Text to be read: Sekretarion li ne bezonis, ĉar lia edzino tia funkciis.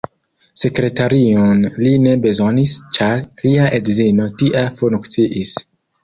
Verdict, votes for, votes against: accepted, 2, 0